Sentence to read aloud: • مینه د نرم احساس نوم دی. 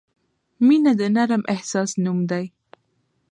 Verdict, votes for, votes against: accepted, 2, 0